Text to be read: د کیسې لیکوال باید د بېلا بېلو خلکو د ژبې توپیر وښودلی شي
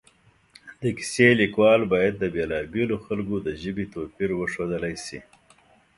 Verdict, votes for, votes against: accepted, 2, 0